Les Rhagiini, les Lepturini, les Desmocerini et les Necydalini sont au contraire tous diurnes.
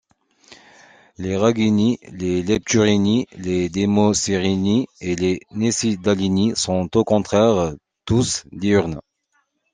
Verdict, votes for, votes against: accepted, 2, 0